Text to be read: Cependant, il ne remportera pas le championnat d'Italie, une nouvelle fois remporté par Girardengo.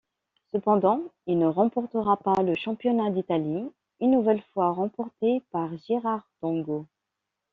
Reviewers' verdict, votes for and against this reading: accepted, 2, 1